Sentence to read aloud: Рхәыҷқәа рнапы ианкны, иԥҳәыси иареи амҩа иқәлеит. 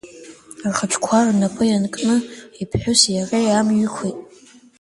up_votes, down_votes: 1, 2